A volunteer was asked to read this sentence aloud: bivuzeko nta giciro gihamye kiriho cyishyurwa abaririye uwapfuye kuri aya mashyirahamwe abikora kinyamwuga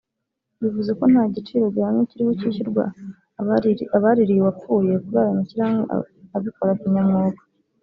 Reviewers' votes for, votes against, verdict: 1, 2, rejected